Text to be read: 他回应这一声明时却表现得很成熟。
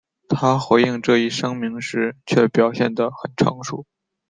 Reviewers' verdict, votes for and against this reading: accepted, 3, 0